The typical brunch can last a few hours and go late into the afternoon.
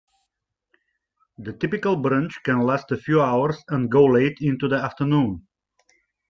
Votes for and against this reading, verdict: 2, 1, accepted